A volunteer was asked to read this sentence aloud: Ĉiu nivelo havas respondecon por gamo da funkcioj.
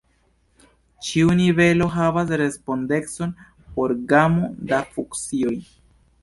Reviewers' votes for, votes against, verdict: 2, 1, accepted